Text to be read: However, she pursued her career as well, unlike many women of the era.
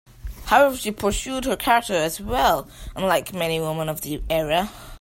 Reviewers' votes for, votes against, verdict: 2, 0, accepted